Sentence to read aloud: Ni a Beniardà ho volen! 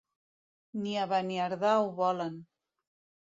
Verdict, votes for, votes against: accepted, 2, 1